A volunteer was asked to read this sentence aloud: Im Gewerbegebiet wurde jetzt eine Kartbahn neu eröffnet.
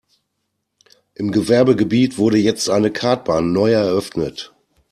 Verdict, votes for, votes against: accepted, 2, 1